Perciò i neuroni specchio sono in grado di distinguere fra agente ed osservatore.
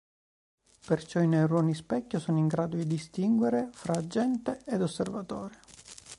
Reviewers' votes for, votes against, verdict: 2, 0, accepted